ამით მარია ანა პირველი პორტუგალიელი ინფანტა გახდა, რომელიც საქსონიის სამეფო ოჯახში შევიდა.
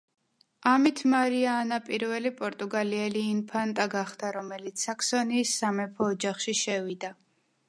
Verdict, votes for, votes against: accepted, 2, 0